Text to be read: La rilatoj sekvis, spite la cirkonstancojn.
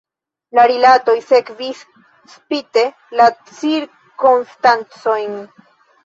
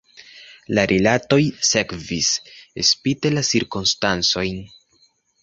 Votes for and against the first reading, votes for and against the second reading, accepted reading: 1, 2, 2, 0, second